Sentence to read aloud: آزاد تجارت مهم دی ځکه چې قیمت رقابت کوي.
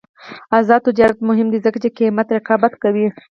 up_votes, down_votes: 0, 4